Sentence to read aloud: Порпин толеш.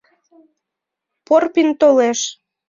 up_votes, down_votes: 2, 0